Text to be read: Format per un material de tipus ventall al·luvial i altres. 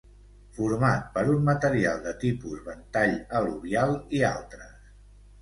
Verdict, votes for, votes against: accepted, 2, 1